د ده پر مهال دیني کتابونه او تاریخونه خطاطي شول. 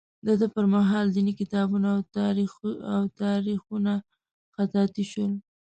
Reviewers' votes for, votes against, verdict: 1, 2, rejected